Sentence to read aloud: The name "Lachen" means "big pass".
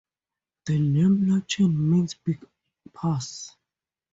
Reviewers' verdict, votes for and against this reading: accepted, 2, 0